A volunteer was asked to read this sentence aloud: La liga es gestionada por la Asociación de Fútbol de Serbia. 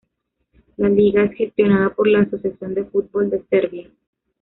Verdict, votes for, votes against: accepted, 2, 0